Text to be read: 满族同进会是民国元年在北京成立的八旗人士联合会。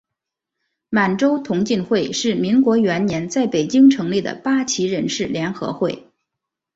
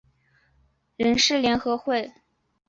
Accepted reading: first